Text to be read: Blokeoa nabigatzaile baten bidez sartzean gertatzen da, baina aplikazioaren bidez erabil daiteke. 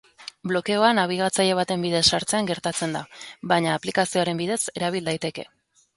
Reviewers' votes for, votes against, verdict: 2, 0, accepted